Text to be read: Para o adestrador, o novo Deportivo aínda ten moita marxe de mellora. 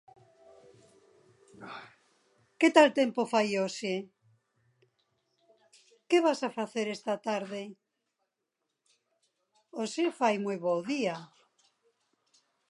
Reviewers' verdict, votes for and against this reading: rejected, 0, 2